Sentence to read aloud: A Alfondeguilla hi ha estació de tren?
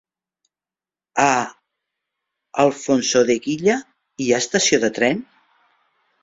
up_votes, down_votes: 1, 2